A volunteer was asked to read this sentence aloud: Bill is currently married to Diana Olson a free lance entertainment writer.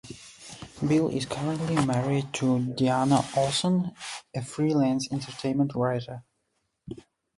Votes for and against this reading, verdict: 0, 2, rejected